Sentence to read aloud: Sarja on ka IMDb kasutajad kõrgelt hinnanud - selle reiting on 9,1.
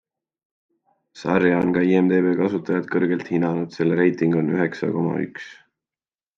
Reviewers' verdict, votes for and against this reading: rejected, 0, 2